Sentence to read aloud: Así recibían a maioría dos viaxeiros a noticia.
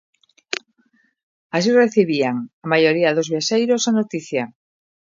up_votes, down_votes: 2, 0